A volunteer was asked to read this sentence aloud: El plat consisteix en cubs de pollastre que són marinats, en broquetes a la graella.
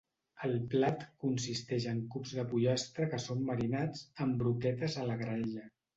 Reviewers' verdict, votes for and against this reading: accepted, 2, 0